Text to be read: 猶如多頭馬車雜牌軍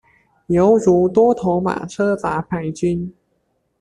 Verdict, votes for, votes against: accepted, 2, 0